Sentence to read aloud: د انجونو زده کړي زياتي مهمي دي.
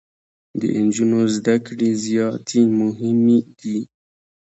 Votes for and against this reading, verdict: 2, 0, accepted